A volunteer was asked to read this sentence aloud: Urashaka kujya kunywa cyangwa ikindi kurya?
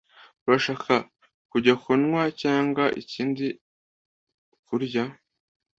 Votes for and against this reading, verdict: 2, 0, accepted